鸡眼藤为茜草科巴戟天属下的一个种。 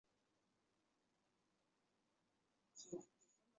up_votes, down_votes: 2, 1